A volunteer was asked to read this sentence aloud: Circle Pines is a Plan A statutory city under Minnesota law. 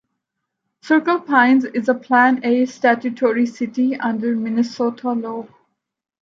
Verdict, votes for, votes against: accepted, 2, 0